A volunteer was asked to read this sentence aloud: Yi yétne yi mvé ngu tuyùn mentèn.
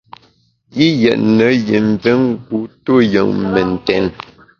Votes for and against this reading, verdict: 0, 2, rejected